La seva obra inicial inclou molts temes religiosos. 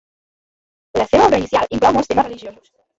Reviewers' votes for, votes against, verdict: 0, 2, rejected